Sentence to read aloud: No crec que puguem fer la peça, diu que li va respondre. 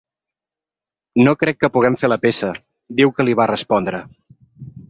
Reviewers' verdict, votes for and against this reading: accepted, 3, 0